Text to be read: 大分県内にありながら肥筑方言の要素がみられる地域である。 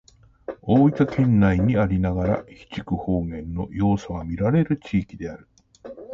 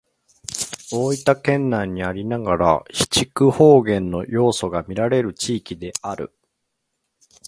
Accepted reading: second